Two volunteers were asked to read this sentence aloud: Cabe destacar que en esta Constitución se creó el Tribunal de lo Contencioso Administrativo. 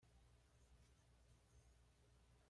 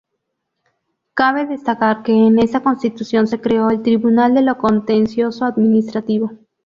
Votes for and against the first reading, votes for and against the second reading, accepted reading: 1, 2, 2, 0, second